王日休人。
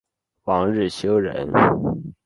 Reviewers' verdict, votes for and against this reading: accepted, 2, 0